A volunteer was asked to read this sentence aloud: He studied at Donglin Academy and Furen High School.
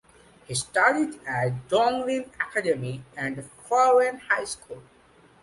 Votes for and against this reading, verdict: 2, 0, accepted